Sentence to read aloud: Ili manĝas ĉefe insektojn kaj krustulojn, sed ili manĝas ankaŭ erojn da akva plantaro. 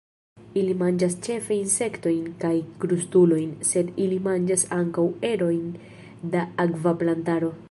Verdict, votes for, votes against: rejected, 1, 2